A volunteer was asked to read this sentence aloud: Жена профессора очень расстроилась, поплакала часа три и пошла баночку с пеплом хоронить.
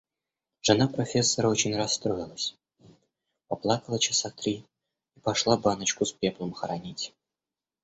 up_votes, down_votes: 1, 2